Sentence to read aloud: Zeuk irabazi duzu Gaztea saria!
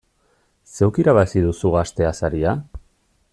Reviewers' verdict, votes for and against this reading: rejected, 0, 2